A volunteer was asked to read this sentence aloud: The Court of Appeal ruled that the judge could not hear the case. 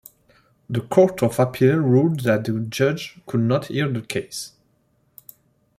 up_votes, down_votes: 2, 0